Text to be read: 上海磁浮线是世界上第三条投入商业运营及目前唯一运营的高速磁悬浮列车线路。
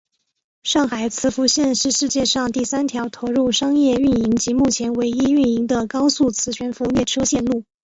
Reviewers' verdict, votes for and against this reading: accepted, 2, 0